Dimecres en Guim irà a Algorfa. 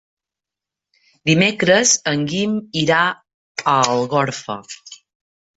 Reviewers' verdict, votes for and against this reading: accepted, 4, 0